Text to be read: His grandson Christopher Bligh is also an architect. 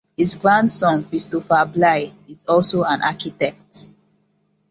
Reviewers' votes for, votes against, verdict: 2, 0, accepted